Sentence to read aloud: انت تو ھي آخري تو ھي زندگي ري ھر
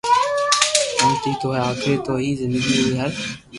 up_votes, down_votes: 1, 2